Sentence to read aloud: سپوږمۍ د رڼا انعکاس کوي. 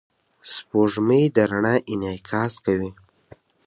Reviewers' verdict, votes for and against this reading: rejected, 1, 2